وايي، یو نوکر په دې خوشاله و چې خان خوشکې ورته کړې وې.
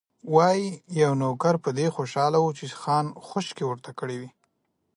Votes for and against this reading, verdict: 2, 0, accepted